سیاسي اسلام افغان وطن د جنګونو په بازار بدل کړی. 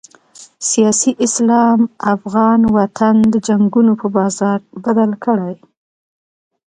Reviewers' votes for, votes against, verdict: 1, 2, rejected